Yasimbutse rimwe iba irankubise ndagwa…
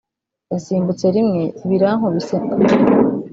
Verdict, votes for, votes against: rejected, 0, 2